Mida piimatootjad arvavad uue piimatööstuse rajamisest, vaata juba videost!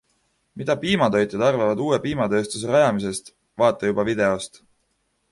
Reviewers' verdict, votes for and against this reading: rejected, 1, 2